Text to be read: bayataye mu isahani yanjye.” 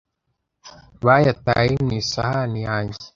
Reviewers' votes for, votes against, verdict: 2, 0, accepted